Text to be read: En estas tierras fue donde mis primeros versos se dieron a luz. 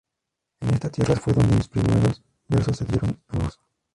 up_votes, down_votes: 0, 2